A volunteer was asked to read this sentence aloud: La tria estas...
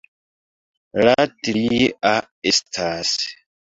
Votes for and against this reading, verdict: 1, 2, rejected